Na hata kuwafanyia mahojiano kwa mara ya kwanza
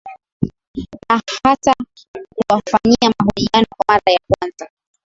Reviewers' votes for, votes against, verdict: 2, 1, accepted